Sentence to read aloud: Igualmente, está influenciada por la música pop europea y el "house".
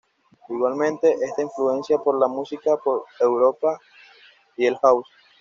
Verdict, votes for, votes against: rejected, 1, 2